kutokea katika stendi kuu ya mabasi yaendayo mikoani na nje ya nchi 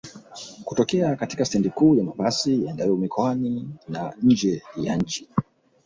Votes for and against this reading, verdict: 1, 2, rejected